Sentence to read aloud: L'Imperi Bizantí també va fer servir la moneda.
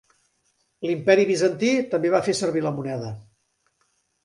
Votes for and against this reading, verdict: 6, 0, accepted